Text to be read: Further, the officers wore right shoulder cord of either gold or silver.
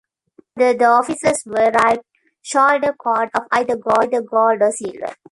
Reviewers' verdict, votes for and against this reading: rejected, 1, 2